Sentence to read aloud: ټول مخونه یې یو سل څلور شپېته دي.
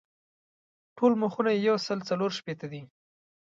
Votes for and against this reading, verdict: 2, 0, accepted